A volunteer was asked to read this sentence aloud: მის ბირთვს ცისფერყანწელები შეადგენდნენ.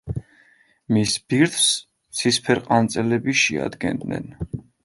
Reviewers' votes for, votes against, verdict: 2, 0, accepted